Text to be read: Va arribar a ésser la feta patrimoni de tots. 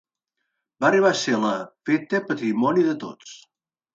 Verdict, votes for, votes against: rejected, 0, 2